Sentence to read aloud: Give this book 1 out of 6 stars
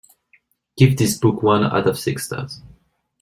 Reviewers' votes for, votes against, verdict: 0, 2, rejected